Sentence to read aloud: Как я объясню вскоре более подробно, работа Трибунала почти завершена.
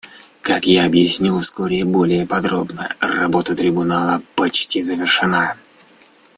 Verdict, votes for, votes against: rejected, 1, 2